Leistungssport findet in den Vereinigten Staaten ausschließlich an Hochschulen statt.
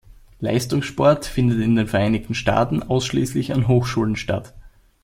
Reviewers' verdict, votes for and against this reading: accepted, 2, 0